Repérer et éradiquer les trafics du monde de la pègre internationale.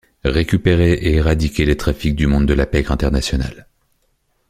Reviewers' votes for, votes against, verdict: 1, 2, rejected